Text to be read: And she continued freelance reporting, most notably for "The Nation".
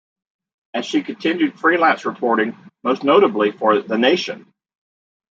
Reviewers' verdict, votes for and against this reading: rejected, 1, 2